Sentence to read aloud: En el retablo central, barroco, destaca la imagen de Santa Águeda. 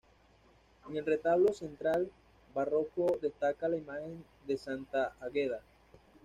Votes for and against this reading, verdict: 2, 0, accepted